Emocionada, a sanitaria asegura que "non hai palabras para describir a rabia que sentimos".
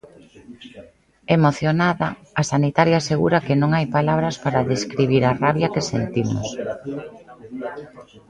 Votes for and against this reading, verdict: 2, 0, accepted